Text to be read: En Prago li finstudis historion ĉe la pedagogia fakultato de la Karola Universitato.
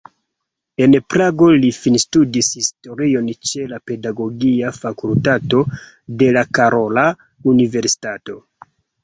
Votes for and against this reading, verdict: 0, 2, rejected